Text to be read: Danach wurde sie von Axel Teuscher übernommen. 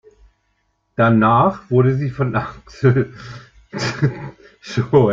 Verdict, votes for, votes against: rejected, 0, 2